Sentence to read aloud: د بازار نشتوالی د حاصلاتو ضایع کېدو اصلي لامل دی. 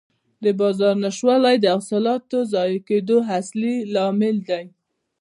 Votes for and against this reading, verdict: 0, 2, rejected